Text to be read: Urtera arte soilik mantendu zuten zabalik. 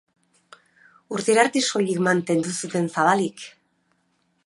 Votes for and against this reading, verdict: 2, 0, accepted